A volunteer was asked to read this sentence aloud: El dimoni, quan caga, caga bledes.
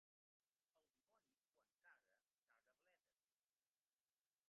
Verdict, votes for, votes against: accepted, 2, 1